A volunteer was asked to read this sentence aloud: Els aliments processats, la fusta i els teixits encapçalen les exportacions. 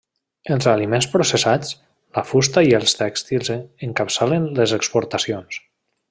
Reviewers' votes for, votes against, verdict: 1, 2, rejected